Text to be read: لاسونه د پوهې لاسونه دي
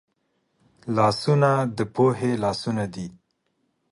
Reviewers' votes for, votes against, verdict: 2, 0, accepted